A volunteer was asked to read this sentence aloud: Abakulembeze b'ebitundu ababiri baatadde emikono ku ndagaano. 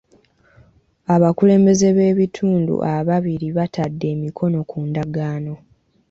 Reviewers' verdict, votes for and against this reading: rejected, 1, 2